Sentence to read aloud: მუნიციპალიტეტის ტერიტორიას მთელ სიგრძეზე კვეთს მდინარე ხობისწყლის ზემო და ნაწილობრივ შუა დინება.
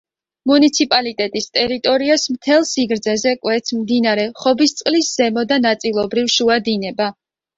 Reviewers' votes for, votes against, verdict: 2, 0, accepted